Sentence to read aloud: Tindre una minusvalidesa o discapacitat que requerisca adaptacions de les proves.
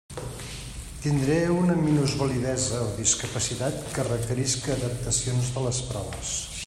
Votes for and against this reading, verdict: 0, 2, rejected